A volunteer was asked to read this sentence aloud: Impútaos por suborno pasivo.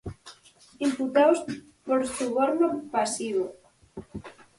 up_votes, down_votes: 0, 4